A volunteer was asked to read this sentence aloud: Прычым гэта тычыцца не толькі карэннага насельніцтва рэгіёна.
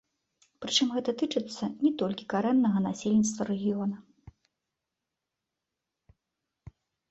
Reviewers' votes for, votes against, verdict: 2, 1, accepted